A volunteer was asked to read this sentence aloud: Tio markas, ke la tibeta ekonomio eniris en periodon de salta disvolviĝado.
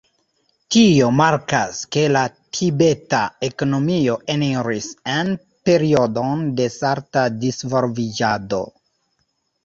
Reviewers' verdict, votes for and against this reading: rejected, 1, 2